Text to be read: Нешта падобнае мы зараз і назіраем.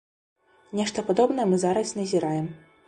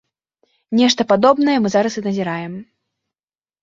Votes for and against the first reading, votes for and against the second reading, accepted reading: 1, 2, 2, 0, second